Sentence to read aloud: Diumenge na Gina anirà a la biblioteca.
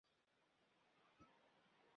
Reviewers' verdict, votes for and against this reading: rejected, 0, 2